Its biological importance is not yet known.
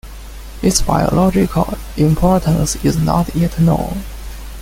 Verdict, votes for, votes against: accepted, 2, 0